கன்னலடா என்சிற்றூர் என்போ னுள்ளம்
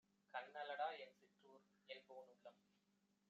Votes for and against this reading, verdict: 1, 2, rejected